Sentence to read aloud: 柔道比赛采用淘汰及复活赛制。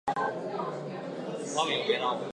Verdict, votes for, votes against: rejected, 0, 2